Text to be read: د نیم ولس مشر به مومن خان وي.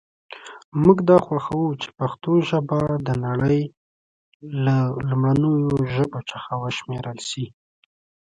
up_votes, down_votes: 0, 2